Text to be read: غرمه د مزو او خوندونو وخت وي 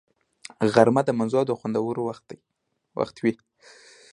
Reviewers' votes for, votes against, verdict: 2, 0, accepted